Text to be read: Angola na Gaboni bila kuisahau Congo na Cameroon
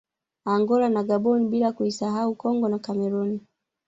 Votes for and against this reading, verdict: 1, 2, rejected